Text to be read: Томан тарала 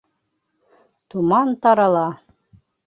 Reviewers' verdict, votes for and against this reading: accepted, 2, 0